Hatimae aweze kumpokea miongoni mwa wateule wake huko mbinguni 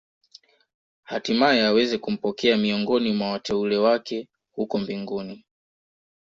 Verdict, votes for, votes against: accepted, 2, 1